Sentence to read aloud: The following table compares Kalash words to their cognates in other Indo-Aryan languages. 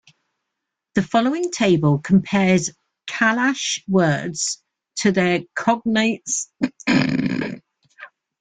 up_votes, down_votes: 1, 2